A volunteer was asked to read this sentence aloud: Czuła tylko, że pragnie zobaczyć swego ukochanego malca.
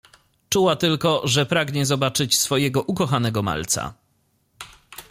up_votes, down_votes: 0, 2